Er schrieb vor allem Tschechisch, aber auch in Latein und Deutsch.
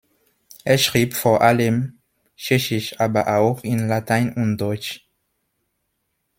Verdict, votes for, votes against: accepted, 2, 1